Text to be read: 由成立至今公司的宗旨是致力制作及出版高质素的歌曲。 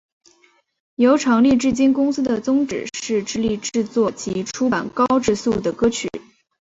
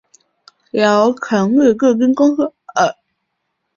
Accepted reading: first